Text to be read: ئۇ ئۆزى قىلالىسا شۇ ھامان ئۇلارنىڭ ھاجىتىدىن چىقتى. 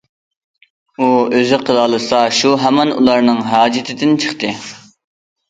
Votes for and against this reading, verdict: 2, 0, accepted